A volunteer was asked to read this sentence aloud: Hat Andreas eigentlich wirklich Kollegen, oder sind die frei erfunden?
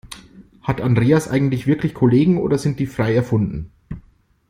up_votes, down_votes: 2, 0